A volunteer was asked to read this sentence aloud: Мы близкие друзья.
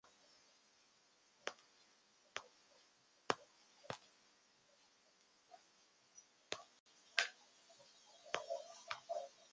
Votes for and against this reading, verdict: 0, 2, rejected